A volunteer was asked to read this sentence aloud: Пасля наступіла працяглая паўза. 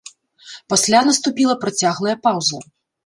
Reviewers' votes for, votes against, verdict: 2, 0, accepted